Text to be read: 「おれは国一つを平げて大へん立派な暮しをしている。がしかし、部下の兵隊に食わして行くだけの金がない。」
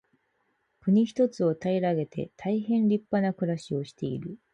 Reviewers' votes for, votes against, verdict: 2, 4, rejected